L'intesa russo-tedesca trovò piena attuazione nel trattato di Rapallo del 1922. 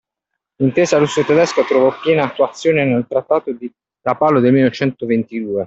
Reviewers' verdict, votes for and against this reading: rejected, 0, 2